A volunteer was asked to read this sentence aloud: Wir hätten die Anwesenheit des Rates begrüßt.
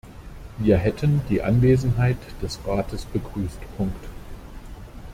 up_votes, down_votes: 0, 2